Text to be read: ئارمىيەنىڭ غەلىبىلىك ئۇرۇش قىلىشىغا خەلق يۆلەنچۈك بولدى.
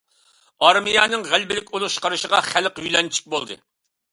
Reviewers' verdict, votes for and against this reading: accepted, 2, 1